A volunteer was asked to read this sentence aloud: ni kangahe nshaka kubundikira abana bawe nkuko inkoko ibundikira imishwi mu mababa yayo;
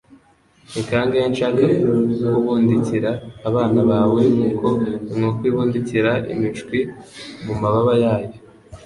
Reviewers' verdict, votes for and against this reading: accepted, 3, 0